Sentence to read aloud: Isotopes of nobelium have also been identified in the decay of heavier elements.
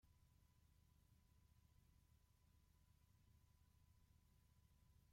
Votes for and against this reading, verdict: 0, 2, rejected